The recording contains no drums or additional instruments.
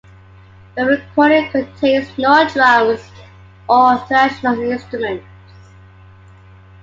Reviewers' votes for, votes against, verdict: 0, 2, rejected